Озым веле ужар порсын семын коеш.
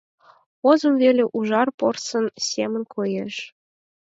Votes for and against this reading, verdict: 4, 0, accepted